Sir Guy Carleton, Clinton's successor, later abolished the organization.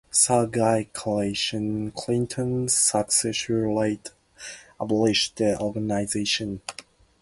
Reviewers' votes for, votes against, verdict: 0, 2, rejected